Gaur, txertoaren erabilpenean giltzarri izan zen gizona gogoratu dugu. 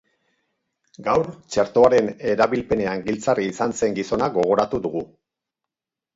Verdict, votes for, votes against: rejected, 2, 2